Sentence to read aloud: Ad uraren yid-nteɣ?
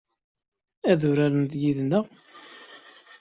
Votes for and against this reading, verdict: 2, 0, accepted